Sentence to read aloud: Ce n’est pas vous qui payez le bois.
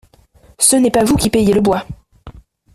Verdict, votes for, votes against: accepted, 2, 0